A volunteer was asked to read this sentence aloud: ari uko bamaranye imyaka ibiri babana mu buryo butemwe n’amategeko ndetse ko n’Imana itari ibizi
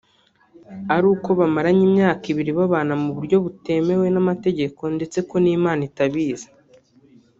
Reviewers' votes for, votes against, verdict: 1, 2, rejected